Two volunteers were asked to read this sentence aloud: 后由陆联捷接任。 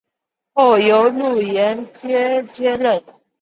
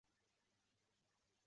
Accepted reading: first